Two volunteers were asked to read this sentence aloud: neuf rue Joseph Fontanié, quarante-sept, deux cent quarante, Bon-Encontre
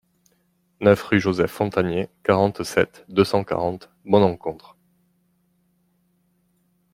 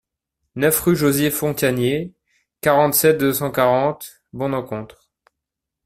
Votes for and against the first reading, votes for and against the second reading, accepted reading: 2, 0, 1, 2, first